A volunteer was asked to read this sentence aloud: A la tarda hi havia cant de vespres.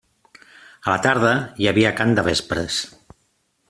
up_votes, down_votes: 2, 0